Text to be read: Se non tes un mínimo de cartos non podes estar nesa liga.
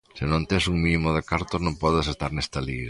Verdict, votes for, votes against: rejected, 0, 2